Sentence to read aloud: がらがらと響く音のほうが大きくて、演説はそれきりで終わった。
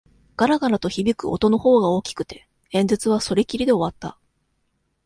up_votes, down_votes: 2, 0